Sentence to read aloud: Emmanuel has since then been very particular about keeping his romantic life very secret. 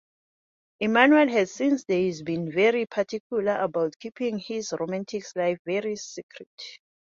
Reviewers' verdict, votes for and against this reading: accepted, 2, 1